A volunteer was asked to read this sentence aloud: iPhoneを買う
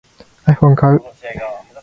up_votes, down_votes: 2, 0